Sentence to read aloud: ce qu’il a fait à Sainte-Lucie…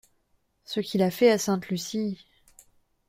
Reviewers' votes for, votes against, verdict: 2, 0, accepted